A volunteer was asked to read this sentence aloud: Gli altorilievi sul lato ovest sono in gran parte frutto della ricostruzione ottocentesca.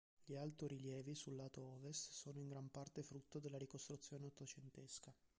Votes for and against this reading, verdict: 1, 2, rejected